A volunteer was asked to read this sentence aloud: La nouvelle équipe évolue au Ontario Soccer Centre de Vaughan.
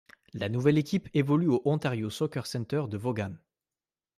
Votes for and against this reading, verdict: 2, 0, accepted